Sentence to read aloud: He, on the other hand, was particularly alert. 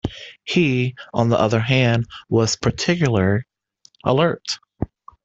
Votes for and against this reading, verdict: 0, 2, rejected